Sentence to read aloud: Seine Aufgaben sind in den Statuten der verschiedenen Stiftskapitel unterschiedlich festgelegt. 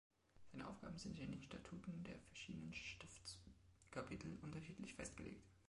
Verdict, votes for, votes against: accepted, 2, 0